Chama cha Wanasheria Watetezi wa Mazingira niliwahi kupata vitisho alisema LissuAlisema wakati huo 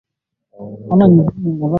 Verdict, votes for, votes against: rejected, 0, 2